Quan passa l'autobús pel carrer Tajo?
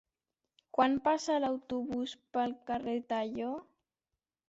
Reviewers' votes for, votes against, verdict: 0, 2, rejected